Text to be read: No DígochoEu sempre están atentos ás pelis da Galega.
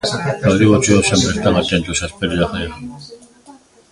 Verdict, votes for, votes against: rejected, 0, 2